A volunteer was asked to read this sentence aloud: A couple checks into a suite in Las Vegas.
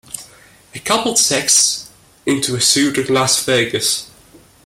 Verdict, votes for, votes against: rejected, 0, 2